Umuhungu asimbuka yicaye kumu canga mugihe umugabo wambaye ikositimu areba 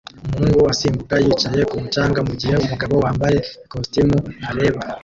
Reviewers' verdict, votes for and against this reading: rejected, 0, 2